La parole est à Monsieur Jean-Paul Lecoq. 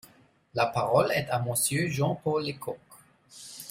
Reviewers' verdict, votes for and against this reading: rejected, 1, 2